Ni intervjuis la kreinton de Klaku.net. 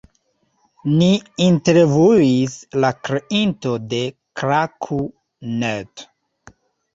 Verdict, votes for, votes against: accepted, 4, 3